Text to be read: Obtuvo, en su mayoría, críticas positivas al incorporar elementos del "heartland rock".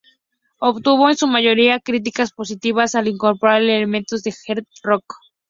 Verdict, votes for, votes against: accepted, 2, 0